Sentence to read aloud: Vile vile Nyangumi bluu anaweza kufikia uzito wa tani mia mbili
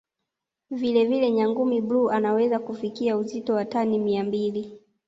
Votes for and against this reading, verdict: 1, 2, rejected